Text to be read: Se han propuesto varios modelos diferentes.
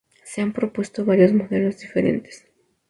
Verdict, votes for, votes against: rejected, 0, 2